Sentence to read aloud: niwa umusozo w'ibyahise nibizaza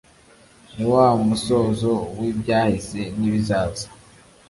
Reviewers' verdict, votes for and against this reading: accepted, 2, 0